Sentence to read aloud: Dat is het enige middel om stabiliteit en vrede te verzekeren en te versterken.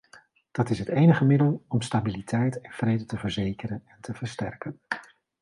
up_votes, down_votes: 2, 1